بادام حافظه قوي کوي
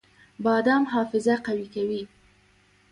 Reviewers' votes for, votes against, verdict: 1, 2, rejected